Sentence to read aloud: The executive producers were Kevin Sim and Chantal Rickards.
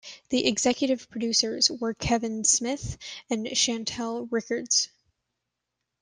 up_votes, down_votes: 1, 2